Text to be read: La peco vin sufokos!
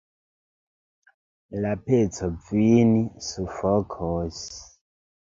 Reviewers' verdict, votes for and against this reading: rejected, 1, 2